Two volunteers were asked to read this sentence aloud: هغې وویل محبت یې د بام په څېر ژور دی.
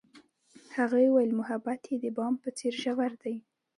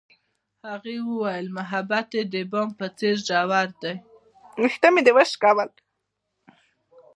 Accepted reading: first